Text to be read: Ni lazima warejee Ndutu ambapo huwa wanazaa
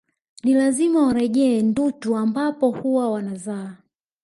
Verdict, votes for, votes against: accepted, 2, 0